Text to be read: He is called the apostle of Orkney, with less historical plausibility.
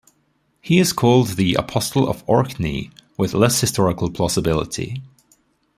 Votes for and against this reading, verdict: 2, 0, accepted